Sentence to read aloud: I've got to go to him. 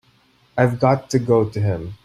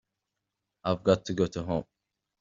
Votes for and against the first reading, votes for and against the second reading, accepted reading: 2, 0, 1, 2, first